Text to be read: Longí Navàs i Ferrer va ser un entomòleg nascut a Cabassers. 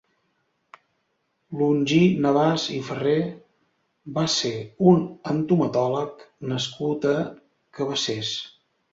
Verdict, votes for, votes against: rejected, 0, 2